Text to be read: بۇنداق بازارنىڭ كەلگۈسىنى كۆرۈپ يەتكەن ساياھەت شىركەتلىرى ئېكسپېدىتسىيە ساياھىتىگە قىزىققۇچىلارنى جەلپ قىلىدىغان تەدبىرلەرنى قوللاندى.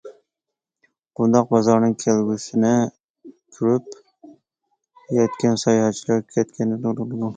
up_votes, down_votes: 0, 2